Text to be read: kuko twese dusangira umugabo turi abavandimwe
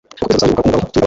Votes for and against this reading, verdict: 0, 2, rejected